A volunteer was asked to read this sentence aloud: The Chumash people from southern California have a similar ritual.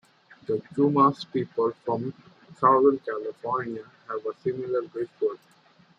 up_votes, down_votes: 2, 1